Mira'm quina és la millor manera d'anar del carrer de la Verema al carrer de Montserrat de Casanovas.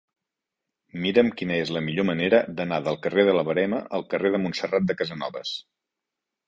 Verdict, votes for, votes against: accepted, 2, 0